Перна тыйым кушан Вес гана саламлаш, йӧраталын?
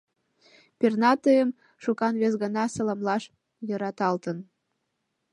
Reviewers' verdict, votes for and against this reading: rejected, 1, 2